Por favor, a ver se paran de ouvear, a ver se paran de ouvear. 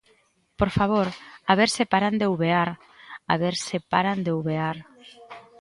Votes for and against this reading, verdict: 2, 0, accepted